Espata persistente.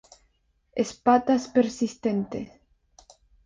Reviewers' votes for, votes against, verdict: 2, 0, accepted